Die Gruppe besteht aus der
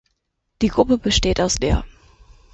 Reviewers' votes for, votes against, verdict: 6, 0, accepted